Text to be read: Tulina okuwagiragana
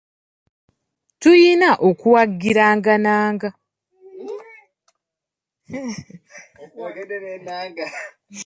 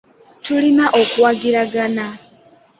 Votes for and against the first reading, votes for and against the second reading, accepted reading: 0, 2, 2, 0, second